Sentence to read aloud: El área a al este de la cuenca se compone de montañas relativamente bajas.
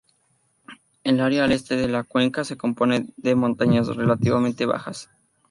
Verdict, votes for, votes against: rejected, 0, 2